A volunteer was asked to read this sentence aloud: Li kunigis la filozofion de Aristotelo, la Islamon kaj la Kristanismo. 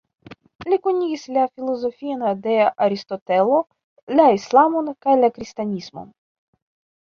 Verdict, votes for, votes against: rejected, 0, 2